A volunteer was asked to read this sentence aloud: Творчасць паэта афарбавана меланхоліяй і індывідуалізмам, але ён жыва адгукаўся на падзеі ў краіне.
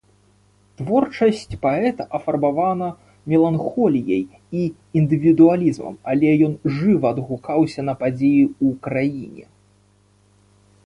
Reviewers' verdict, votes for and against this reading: rejected, 0, 3